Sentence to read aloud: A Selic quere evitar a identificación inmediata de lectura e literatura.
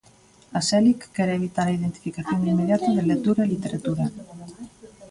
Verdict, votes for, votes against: rejected, 1, 2